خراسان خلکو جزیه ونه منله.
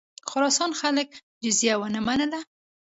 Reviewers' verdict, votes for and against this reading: rejected, 1, 2